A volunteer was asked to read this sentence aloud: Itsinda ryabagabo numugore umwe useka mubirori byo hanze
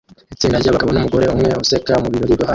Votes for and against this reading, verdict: 0, 2, rejected